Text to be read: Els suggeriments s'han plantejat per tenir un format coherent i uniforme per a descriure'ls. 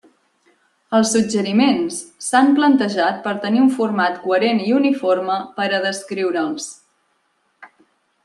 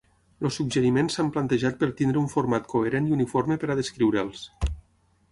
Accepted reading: first